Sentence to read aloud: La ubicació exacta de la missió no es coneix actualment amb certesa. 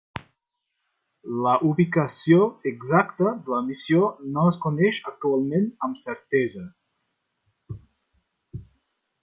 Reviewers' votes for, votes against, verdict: 3, 0, accepted